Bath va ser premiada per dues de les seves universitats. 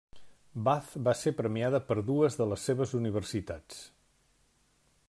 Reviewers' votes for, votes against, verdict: 3, 0, accepted